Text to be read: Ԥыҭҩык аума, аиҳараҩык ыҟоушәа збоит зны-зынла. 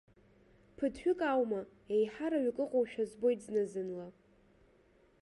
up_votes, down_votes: 1, 2